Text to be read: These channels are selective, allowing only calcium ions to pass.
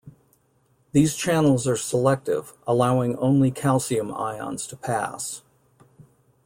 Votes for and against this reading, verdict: 2, 0, accepted